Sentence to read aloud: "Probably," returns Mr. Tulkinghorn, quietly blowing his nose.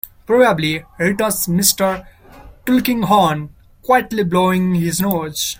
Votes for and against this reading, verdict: 1, 2, rejected